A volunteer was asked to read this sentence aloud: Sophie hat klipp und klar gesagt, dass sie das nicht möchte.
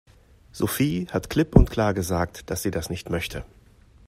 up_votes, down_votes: 2, 0